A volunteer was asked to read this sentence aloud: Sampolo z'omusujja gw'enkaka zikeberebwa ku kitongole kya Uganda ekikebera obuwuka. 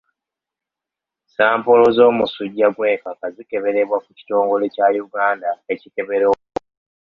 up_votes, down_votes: 0, 2